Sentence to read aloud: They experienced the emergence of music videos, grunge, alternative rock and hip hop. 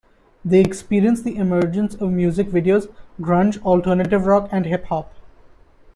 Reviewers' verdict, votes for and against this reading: accepted, 2, 0